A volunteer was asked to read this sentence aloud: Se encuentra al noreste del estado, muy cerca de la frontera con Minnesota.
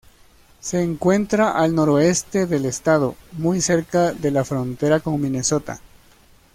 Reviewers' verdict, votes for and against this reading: rejected, 0, 2